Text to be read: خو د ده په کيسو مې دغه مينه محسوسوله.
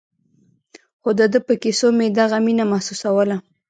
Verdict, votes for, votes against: rejected, 1, 2